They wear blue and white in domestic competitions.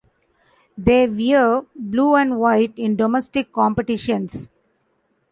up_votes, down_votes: 2, 1